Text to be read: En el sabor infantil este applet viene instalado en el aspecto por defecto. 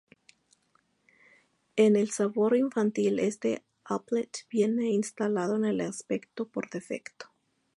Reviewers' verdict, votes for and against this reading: accepted, 2, 0